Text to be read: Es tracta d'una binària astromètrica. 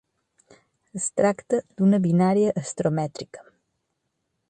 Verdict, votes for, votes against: accepted, 4, 0